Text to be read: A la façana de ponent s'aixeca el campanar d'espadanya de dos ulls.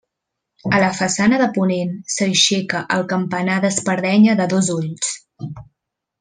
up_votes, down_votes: 1, 2